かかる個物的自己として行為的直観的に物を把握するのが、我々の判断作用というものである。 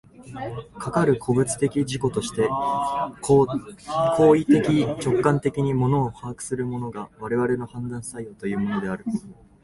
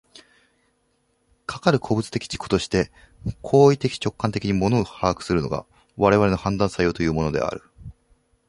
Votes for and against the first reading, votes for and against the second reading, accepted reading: 1, 2, 2, 0, second